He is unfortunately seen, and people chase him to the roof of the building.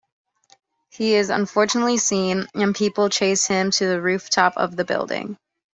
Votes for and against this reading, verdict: 1, 2, rejected